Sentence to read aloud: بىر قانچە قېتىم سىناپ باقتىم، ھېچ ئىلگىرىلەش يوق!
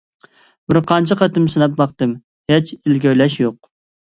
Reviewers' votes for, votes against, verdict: 2, 0, accepted